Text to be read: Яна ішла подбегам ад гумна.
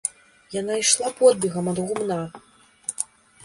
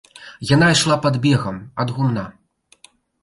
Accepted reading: first